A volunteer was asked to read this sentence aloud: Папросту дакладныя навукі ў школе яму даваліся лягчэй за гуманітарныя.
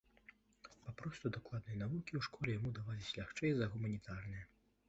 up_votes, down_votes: 0, 2